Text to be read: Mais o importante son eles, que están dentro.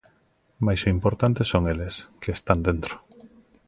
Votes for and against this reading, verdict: 2, 0, accepted